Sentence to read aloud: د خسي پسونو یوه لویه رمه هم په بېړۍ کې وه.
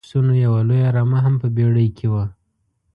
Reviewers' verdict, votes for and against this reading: rejected, 1, 2